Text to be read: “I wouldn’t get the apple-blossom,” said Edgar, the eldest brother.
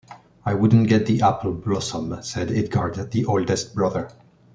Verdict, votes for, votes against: rejected, 1, 2